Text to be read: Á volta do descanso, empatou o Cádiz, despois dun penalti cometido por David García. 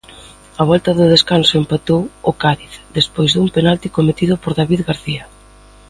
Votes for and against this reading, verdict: 2, 0, accepted